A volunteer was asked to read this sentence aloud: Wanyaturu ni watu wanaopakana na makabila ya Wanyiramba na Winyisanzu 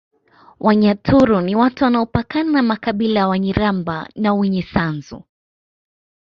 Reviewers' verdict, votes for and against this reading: accepted, 2, 0